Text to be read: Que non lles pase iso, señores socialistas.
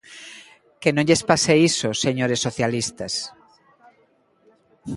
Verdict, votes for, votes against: accepted, 2, 0